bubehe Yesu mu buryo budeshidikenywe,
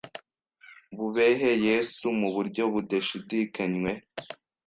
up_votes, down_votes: 1, 2